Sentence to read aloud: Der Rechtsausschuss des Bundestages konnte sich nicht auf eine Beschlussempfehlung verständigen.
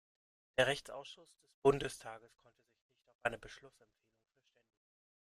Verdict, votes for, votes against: rejected, 0, 2